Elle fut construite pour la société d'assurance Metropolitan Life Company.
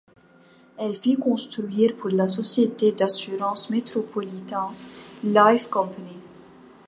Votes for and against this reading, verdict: 0, 2, rejected